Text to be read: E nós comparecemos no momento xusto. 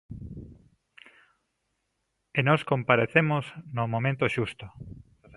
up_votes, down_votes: 2, 0